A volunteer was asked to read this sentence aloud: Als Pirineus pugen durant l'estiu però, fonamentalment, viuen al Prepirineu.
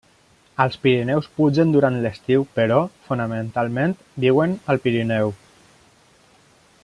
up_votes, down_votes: 0, 2